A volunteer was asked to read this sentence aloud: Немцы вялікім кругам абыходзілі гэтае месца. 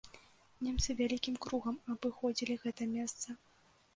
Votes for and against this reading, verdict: 1, 2, rejected